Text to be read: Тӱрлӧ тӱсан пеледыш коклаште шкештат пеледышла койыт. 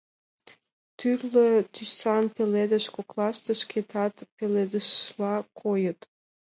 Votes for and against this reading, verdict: 0, 2, rejected